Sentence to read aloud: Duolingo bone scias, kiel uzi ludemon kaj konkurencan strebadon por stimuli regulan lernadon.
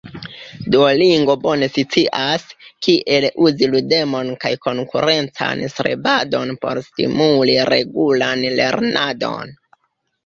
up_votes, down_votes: 0, 2